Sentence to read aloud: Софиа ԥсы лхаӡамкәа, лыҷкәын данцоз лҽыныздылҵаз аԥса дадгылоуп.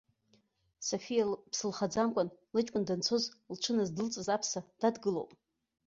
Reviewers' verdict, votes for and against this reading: rejected, 1, 2